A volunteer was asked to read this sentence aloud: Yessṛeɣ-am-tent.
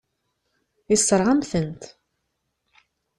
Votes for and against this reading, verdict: 2, 0, accepted